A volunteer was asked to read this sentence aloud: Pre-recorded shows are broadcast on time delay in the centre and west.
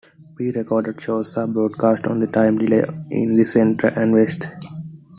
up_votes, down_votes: 1, 2